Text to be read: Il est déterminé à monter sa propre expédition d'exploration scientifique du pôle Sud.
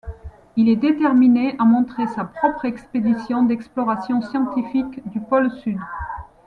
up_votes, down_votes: 1, 2